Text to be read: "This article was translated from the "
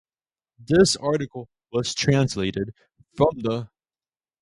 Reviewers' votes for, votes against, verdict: 2, 0, accepted